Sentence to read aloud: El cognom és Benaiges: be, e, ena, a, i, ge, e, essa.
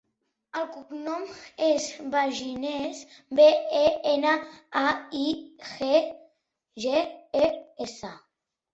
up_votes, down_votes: 0, 2